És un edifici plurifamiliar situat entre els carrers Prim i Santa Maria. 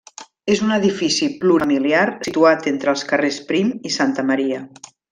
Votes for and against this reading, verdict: 0, 2, rejected